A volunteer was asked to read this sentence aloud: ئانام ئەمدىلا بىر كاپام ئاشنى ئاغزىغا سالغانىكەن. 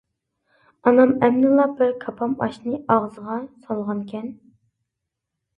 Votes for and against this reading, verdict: 2, 0, accepted